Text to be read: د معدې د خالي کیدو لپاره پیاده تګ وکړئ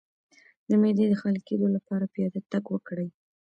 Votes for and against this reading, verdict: 2, 0, accepted